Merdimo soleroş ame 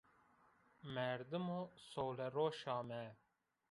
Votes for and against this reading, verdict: 0, 2, rejected